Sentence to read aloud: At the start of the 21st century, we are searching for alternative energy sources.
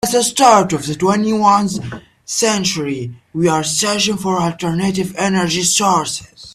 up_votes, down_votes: 0, 2